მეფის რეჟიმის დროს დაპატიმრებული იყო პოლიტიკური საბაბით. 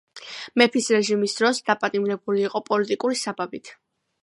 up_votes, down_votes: 2, 0